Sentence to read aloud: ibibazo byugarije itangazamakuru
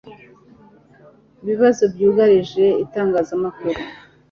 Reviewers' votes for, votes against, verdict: 2, 0, accepted